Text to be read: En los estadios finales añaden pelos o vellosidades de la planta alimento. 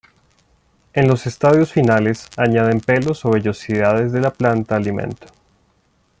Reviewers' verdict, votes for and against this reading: rejected, 1, 2